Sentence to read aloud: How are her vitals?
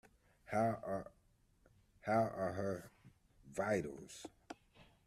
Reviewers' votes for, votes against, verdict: 0, 2, rejected